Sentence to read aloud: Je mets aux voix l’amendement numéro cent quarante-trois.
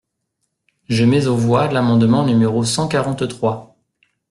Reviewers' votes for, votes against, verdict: 2, 0, accepted